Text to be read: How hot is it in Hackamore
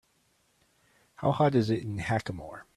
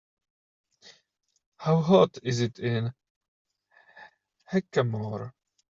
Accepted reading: first